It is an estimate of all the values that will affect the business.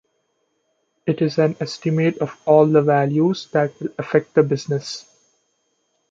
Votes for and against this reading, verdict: 2, 0, accepted